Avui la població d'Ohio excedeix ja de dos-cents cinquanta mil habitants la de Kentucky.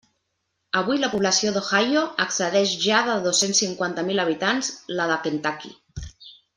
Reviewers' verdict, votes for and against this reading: accepted, 2, 0